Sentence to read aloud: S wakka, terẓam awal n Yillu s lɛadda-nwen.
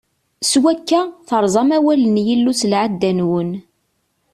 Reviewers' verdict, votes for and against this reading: accepted, 2, 0